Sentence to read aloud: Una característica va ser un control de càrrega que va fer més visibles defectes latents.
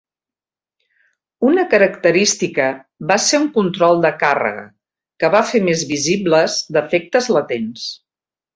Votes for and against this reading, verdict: 4, 0, accepted